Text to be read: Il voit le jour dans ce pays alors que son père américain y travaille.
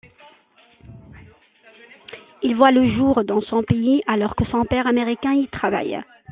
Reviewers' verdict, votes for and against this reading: rejected, 1, 2